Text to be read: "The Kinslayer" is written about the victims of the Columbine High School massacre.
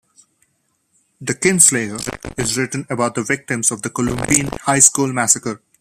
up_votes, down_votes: 0, 2